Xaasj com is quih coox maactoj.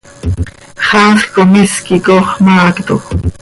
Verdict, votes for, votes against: accepted, 2, 0